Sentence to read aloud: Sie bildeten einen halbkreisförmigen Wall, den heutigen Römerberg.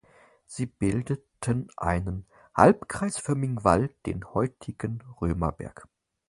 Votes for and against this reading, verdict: 4, 0, accepted